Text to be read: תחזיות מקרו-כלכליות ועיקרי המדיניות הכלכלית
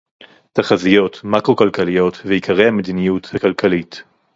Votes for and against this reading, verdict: 0, 2, rejected